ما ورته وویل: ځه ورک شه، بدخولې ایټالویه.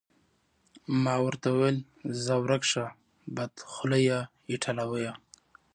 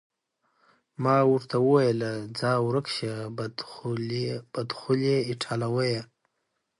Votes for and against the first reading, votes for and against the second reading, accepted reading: 2, 0, 1, 2, first